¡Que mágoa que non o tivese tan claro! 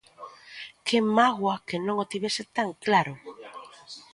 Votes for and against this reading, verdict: 2, 0, accepted